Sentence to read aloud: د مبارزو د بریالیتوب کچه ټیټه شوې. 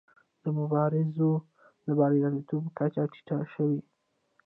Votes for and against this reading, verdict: 2, 1, accepted